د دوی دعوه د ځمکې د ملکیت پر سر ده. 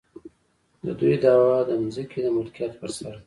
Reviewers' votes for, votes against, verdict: 1, 2, rejected